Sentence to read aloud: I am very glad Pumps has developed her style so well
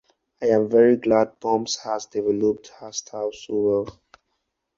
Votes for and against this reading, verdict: 2, 0, accepted